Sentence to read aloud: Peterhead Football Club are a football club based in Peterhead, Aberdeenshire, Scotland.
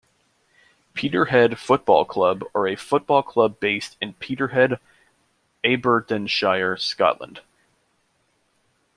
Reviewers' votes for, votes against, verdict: 1, 2, rejected